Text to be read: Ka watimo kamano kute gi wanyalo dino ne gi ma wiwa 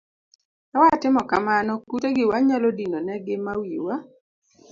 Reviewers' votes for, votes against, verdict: 2, 0, accepted